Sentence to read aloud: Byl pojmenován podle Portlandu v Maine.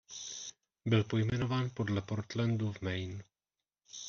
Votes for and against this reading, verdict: 0, 2, rejected